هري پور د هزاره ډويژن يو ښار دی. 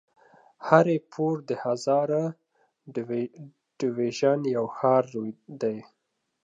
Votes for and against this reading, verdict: 1, 2, rejected